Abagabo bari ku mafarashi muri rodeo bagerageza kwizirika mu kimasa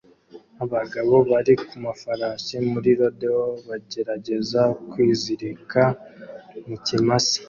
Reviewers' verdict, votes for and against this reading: accepted, 2, 0